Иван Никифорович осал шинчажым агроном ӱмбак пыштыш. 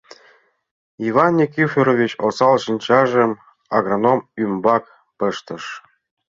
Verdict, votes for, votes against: accepted, 2, 0